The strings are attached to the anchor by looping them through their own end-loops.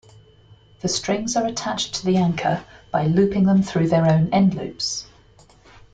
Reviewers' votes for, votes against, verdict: 2, 0, accepted